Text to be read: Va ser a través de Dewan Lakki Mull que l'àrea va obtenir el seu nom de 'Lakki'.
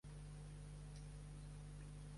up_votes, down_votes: 1, 2